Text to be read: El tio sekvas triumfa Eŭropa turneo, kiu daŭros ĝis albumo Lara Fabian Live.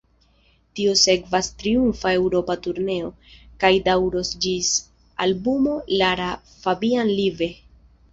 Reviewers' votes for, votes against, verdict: 0, 2, rejected